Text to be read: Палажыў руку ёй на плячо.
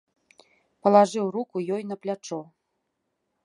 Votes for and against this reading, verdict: 1, 2, rejected